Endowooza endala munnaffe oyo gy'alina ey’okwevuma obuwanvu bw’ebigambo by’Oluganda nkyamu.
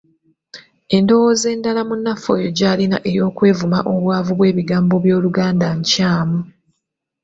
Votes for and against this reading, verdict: 2, 0, accepted